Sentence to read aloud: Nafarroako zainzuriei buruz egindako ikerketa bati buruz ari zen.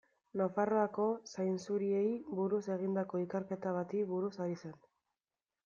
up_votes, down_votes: 2, 1